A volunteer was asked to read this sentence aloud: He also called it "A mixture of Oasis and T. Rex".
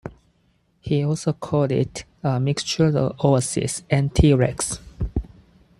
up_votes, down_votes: 4, 2